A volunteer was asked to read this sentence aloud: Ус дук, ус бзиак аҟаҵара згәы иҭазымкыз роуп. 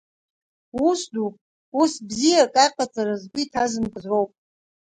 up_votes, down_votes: 1, 2